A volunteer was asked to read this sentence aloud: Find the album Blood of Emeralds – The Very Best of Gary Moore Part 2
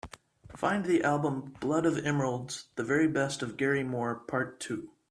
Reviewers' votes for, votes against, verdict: 0, 2, rejected